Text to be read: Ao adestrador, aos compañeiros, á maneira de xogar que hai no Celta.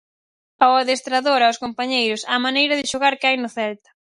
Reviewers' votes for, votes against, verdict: 4, 0, accepted